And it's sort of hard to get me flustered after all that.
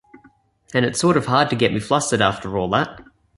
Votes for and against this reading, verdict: 1, 2, rejected